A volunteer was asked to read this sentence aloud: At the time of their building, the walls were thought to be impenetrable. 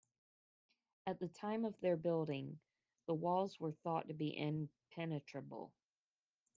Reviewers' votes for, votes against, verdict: 2, 0, accepted